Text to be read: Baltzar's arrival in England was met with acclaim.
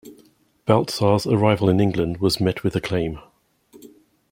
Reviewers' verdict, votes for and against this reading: accepted, 2, 0